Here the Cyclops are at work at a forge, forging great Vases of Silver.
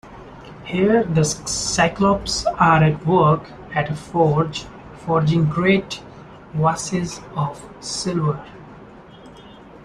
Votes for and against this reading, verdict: 0, 2, rejected